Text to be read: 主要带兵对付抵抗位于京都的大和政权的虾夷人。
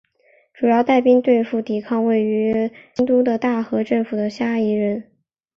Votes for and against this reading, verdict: 3, 0, accepted